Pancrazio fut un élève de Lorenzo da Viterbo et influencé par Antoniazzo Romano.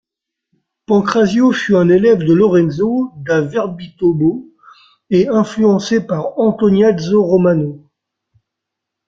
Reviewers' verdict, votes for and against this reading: accepted, 3, 1